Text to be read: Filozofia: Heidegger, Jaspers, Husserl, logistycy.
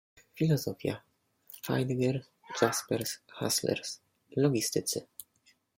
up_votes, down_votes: 1, 2